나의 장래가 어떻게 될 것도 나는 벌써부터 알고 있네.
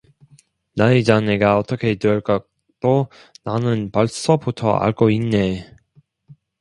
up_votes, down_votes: 1, 2